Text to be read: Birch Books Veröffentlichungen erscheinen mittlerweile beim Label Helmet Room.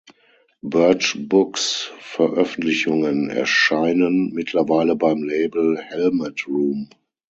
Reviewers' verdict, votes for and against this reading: accepted, 6, 0